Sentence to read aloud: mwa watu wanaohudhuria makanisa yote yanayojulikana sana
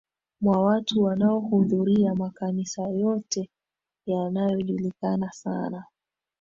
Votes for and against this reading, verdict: 3, 0, accepted